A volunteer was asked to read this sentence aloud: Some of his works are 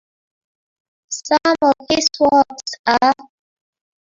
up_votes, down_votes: 0, 2